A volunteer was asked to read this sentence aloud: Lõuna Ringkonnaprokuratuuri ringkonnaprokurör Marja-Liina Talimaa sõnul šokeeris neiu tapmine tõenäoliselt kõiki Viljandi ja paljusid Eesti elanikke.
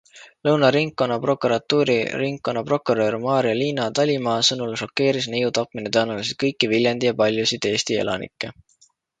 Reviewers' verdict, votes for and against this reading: accepted, 2, 0